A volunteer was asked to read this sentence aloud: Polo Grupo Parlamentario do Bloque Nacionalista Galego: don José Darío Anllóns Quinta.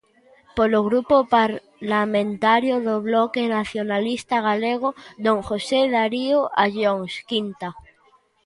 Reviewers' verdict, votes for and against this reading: rejected, 0, 2